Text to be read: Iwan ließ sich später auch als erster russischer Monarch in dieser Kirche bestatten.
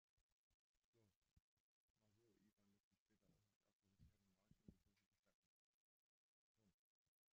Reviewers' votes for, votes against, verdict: 0, 2, rejected